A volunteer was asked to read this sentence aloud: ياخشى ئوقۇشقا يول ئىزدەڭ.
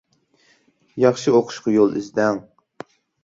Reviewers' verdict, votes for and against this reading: accepted, 2, 0